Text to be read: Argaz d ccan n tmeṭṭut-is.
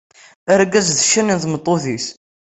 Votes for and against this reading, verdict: 2, 0, accepted